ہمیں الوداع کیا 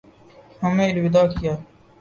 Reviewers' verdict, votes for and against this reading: accepted, 2, 0